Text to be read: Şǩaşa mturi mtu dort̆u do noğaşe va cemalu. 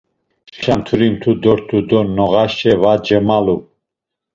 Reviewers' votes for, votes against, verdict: 0, 2, rejected